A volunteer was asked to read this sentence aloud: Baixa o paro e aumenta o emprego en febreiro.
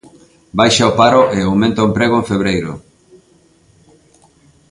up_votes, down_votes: 2, 0